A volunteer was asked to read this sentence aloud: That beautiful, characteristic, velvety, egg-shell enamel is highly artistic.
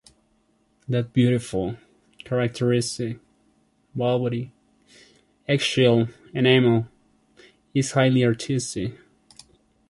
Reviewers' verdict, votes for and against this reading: accepted, 2, 1